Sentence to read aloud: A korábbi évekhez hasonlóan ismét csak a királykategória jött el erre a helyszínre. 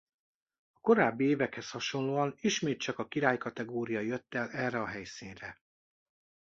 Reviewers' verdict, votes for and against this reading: rejected, 1, 2